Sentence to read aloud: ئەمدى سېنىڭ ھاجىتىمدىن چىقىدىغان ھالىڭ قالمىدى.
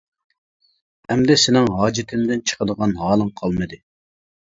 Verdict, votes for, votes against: accepted, 2, 0